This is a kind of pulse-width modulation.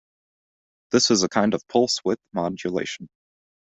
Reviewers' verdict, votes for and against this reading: accepted, 2, 0